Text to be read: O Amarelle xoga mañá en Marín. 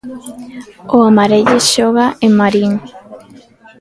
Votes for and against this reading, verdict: 0, 2, rejected